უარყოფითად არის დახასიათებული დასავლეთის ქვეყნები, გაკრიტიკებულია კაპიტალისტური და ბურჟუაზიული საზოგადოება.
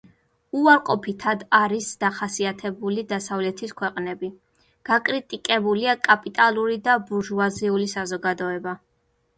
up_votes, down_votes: 1, 2